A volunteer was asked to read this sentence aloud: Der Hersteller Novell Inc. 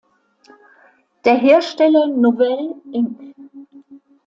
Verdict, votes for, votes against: accepted, 2, 0